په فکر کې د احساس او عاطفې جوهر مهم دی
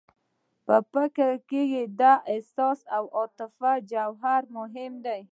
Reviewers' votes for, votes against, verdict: 2, 0, accepted